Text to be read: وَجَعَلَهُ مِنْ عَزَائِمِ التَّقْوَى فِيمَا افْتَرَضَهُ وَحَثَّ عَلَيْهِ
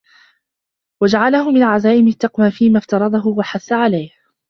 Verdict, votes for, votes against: accepted, 2, 0